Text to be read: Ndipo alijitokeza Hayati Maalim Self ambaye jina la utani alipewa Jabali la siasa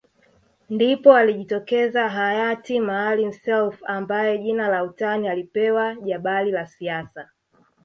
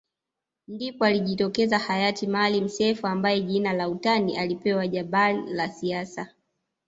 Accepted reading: first